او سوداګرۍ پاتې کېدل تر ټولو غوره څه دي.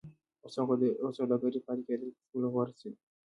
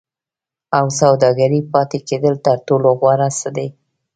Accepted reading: first